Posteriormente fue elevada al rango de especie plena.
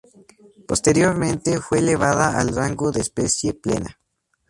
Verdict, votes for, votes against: accepted, 4, 0